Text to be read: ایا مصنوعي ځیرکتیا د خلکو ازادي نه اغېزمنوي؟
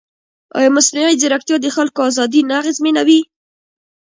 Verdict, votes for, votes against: rejected, 1, 2